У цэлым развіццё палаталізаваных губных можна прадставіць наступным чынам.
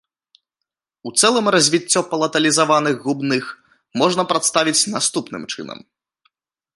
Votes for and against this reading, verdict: 2, 0, accepted